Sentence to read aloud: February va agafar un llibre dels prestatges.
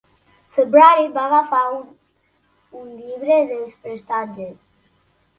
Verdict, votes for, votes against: rejected, 0, 2